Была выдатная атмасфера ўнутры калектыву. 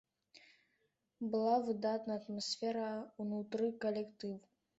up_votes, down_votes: 2, 0